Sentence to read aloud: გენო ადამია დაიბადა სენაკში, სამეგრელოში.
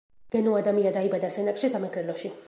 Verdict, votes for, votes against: rejected, 1, 2